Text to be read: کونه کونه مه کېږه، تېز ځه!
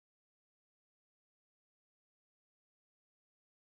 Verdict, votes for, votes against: rejected, 1, 2